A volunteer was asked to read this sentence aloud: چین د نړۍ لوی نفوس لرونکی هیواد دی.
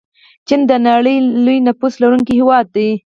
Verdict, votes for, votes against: accepted, 4, 2